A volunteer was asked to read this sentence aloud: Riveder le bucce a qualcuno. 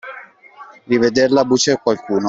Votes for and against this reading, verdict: 1, 2, rejected